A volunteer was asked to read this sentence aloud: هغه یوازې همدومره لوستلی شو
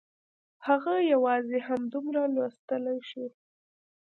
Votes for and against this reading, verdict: 2, 0, accepted